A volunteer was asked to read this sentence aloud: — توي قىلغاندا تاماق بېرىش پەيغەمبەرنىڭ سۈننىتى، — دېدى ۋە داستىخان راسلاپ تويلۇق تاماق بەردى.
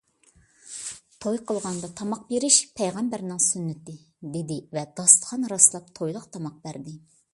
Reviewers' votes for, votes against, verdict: 2, 0, accepted